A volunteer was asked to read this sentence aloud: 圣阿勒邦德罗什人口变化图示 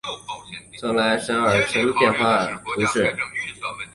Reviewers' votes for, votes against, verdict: 4, 2, accepted